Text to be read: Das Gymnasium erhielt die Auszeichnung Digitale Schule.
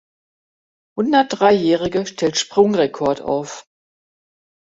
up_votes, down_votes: 0, 2